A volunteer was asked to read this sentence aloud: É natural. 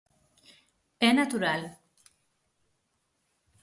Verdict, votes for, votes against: accepted, 6, 0